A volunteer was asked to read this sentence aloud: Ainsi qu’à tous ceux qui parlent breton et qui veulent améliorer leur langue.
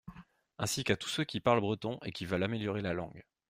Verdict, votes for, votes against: rejected, 0, 2